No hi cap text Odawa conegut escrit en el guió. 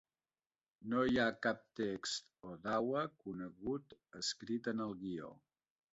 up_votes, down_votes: 2, 0